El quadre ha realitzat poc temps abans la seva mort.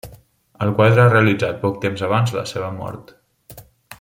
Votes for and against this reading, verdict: 3, 0, accepted